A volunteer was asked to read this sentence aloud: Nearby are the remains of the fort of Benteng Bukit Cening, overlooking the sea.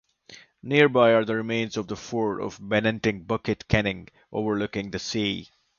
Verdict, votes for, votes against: accepted, 2, 0